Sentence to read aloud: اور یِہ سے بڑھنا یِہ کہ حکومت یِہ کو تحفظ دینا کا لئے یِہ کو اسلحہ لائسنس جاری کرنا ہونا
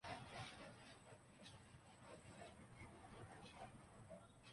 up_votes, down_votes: 0, 2